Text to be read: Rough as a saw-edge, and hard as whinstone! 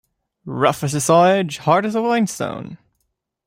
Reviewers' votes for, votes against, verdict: 0, 2, rejected